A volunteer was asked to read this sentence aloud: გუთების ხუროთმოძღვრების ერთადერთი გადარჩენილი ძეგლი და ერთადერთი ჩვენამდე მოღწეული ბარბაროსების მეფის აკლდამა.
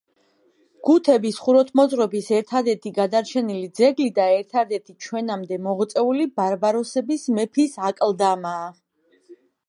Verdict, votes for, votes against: accepted, 2, 1